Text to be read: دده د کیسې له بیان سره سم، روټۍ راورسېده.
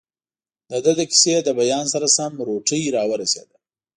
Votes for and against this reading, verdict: 2, 0, accepted